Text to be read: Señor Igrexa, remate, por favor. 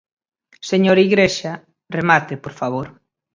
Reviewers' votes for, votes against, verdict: 4, 0, accepted